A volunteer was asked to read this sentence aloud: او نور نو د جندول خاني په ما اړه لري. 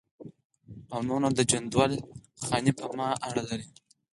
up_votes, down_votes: 0, 4